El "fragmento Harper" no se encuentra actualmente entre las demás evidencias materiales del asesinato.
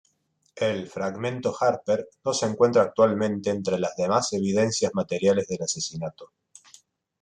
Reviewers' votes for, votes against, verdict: 2, 0, accepted